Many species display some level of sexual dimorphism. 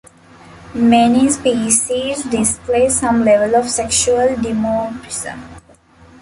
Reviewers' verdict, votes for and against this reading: rejected, 1, 2